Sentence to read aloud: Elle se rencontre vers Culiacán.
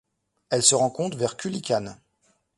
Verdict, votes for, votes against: rejected, 0, 2